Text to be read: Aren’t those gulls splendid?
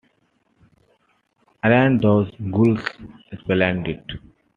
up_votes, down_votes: 0, 2